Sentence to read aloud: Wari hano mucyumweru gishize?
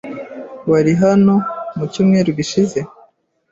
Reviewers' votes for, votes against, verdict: 2, 0, accepted